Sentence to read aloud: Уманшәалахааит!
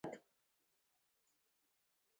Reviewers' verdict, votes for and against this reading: rejected, 0, 2